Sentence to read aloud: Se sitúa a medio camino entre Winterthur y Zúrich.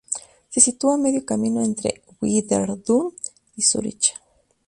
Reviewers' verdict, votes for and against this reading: rejected, 0, 2